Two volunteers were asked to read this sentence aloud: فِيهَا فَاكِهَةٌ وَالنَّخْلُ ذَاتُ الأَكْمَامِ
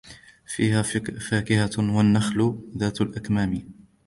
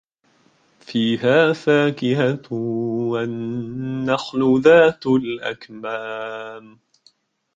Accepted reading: second